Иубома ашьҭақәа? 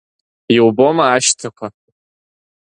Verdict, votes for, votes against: accepted, 3, 0